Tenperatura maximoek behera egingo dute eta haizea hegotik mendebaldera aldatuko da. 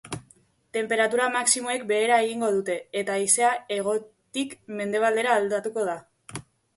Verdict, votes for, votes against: accepted, 3, 1